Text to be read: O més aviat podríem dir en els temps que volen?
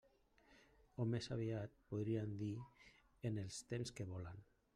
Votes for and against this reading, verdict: 0, 2, rejected